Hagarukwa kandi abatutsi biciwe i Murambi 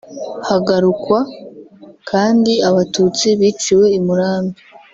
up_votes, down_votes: 0, 2